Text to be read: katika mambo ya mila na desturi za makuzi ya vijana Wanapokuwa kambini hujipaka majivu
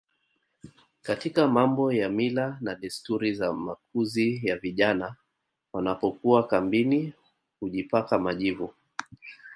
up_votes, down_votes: 2, 1